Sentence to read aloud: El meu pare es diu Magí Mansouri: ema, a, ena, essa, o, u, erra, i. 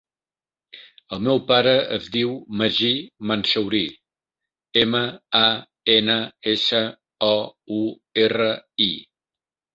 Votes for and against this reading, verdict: 1, 2, rejected